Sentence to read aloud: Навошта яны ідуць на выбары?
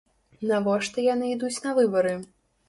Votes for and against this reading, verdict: 2, 0, accepted